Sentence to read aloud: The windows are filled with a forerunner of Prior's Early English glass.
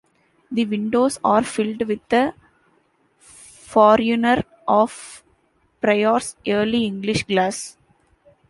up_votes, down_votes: 2, 1